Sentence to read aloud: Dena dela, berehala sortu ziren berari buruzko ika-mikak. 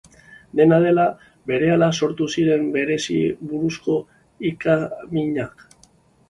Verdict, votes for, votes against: rejected, 0, 3